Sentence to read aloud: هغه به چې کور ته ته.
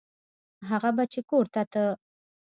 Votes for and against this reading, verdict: 2, 0, accepted